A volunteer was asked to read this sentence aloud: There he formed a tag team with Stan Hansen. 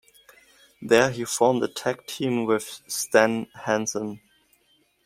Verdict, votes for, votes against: accepted, 2, 0